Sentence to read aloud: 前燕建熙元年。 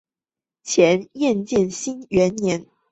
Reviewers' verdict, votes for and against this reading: rejected, 1, 2